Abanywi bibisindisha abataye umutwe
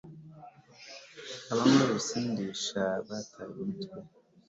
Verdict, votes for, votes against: accepted, 2, 0